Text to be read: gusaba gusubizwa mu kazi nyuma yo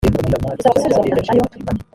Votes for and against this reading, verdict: 1, 2, rejected